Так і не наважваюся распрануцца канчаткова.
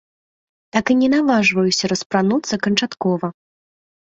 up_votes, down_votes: 2, 0